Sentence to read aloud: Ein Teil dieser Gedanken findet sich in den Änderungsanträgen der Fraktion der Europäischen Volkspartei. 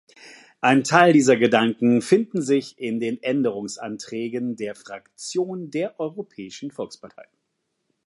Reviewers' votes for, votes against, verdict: 0, 2, rejected